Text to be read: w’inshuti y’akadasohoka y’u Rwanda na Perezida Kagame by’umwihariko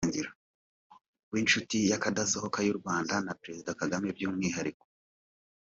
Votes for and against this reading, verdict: 1, 2, rejected